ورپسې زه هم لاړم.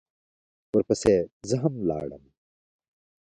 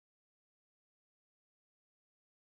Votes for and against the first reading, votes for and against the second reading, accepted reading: 2, 1, 0, 2, first